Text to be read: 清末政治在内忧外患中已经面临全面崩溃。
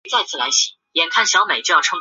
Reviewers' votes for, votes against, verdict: 0, 2, rejected